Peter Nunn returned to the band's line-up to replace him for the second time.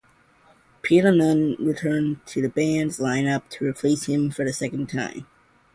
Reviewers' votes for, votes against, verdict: 2, 0, accepted